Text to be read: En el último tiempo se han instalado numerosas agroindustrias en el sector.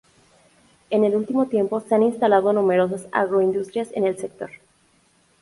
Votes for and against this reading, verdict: 2, 2, rejected